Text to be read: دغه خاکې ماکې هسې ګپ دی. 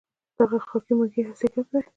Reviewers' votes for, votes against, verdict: 2, 0, accepted